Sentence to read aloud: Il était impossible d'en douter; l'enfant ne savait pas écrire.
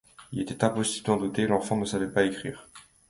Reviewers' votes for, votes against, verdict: 2, 0, accepted